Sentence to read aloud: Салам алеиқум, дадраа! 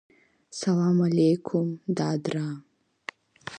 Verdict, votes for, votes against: accepted, 2, 1